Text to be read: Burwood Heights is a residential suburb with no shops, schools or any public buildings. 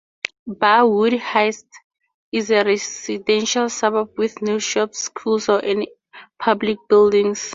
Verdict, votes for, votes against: rejected, 0, 2